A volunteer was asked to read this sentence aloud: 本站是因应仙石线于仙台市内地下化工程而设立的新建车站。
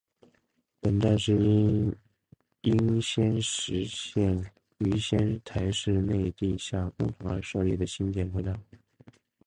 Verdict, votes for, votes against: rejected, 0, 3